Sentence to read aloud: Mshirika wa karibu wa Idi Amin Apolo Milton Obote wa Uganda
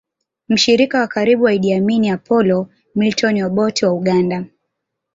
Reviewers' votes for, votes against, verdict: 2, 1, accepted